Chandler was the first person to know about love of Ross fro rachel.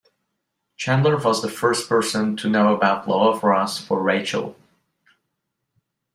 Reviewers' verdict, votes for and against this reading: accepted, 2, 0